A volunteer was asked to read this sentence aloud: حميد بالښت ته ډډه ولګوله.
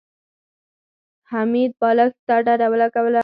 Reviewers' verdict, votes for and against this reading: accepted, 4, 2